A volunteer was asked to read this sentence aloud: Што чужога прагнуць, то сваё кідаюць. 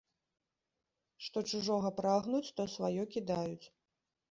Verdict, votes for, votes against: rejected, 0, 2